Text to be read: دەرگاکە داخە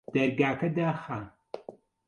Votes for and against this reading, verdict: 2, 0, accepted